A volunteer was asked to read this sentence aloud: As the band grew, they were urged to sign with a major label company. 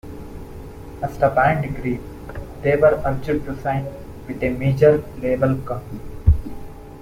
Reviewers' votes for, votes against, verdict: 2, 1, accepted